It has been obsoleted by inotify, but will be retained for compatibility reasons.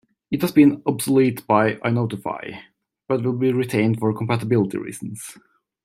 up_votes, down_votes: 1, 2